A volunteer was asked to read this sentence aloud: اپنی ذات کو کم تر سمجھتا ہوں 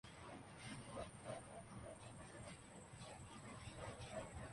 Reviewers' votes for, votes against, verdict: 0, 3, rejected